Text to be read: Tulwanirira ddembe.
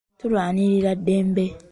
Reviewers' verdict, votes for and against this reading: accepted, 2, 0